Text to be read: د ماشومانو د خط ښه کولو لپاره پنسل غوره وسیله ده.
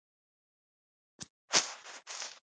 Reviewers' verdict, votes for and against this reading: rejected, 1, 2